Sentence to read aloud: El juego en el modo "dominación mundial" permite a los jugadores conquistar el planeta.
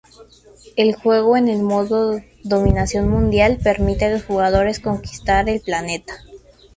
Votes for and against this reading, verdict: 2, 0, accepted